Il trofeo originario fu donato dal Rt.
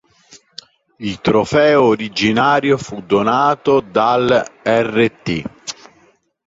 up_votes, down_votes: 2, 1